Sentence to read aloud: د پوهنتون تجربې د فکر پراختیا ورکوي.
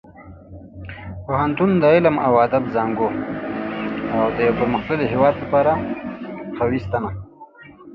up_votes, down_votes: 0, 2